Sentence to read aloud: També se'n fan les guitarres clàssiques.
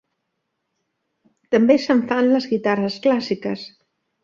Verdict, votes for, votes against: accepted, 3, 0